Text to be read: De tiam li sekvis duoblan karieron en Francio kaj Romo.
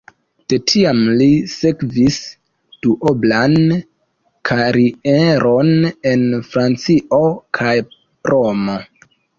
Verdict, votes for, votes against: accepted, 2, 0